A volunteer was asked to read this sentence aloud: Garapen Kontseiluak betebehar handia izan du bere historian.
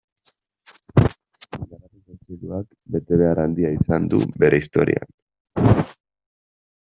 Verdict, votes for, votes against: rejected, 0, 2